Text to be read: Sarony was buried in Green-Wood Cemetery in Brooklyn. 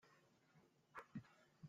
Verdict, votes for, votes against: rejected, 0, 2